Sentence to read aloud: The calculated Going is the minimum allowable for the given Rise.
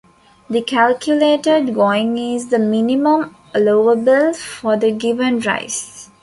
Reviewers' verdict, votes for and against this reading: accepted, 2, 0